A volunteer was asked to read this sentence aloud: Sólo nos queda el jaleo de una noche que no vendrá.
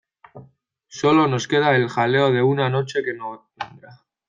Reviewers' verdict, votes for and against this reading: rejected, 1, 2